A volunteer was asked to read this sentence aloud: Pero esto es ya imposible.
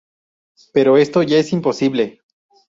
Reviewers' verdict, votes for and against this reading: rejected, 0, 2